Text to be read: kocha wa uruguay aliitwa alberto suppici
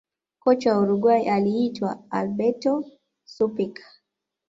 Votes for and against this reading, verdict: 2, 0, accepted